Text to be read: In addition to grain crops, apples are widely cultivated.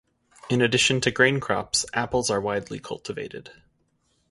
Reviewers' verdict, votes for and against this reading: accepted, 2, 0